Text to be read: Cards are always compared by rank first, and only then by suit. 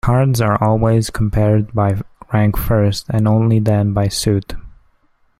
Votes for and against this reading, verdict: 0, 2, rejected